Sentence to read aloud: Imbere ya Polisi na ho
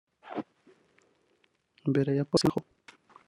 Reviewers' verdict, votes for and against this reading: rejected, 1, 2